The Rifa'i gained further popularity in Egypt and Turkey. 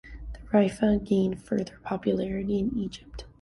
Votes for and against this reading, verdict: 0, 2, rejected